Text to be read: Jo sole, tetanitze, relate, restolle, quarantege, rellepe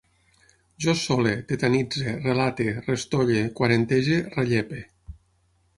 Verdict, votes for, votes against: accepted, 6, 0